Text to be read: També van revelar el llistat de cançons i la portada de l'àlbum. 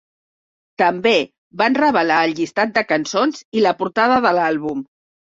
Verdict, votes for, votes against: accepted, 3, 0